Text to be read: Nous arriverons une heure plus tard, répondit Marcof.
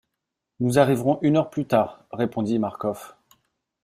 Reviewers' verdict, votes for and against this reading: accepted, 2, 0